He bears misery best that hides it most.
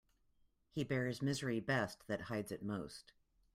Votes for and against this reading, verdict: 2, 0, accepted